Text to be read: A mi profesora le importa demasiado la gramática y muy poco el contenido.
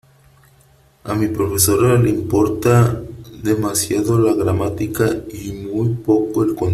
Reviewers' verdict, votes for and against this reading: rejected, 1, 3